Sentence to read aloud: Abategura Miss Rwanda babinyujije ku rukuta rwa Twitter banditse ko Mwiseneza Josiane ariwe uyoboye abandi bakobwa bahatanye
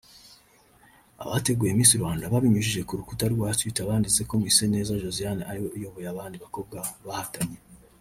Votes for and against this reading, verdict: 2, 3, rejected